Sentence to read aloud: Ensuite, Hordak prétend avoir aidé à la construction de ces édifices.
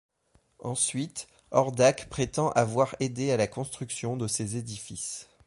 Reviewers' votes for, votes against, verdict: 2, 0, accepted